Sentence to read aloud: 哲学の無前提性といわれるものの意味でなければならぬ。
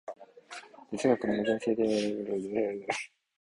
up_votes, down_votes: 0, 2